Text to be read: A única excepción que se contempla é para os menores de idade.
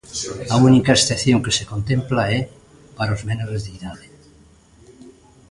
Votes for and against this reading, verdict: 2, 0, accepted